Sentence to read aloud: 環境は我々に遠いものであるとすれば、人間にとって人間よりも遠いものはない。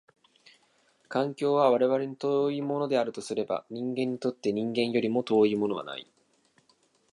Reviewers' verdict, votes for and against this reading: accepted, 2, 0